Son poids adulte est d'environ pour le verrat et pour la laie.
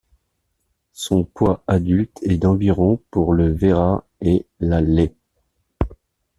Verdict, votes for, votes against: rejected, 0, 2